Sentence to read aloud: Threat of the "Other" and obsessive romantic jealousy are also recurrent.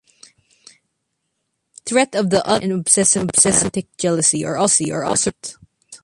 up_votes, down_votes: 0, 3